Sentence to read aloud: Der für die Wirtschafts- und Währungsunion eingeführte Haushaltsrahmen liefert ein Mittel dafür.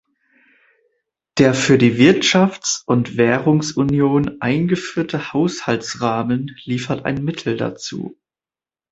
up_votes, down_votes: 0, 3